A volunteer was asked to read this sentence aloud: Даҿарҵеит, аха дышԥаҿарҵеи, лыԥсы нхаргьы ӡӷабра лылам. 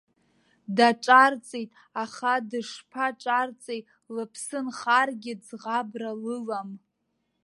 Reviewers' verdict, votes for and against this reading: accepted, 2, 0